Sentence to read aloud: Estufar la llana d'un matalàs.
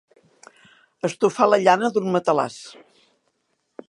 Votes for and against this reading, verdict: 2, 0, accepted